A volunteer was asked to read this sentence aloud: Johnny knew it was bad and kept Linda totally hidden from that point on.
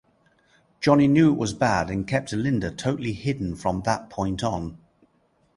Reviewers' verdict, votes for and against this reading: accepted, 2, 0